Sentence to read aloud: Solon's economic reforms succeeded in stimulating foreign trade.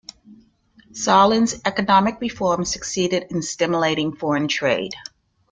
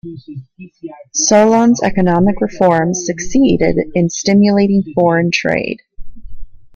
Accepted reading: first